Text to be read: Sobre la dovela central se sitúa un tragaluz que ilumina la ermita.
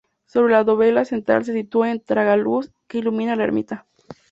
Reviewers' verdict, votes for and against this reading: rejected, 0, 2